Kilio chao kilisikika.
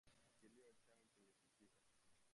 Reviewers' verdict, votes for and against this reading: rejected, 0, 2